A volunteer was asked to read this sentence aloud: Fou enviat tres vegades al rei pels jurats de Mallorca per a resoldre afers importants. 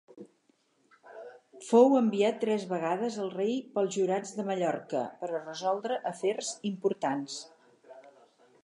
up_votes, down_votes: 4, 0